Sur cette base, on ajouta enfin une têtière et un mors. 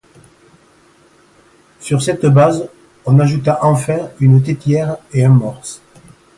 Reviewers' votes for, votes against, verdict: 2, 0, accepted